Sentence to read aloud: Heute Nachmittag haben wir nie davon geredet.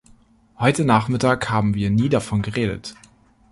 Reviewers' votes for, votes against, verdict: 2, 0, accepted